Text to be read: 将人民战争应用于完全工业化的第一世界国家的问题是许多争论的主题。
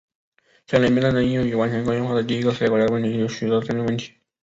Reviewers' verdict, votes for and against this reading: rejected, 1, 2